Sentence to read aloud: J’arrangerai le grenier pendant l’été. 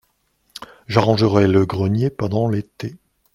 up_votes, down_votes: 2, 0